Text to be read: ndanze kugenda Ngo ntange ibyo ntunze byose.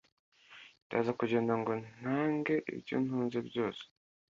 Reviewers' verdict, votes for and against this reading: rejected, 1, 2